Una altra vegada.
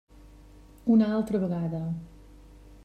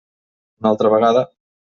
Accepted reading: first